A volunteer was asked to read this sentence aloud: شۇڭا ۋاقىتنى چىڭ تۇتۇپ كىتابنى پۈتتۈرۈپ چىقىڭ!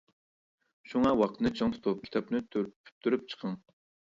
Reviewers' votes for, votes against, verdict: 0, 2, rejected